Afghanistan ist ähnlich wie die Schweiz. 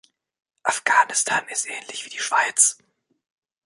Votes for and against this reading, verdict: 1, 2, rejected